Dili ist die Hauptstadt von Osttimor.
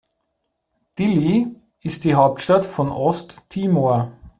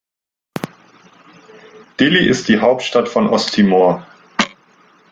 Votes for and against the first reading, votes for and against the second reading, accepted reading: 2, 0, 1, 2, first